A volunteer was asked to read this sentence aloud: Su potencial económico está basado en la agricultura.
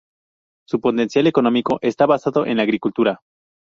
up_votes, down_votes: 0, 2